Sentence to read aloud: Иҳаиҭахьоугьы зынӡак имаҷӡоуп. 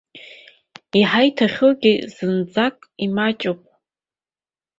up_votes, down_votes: 3, 2